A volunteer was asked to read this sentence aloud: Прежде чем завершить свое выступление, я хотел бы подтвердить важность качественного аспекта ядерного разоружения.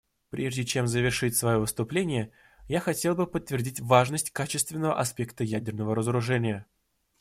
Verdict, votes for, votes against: accepted, 2, 0